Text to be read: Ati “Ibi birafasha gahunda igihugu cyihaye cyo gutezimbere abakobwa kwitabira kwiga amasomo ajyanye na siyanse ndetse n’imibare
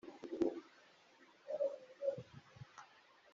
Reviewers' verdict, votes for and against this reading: rejected, 1, 2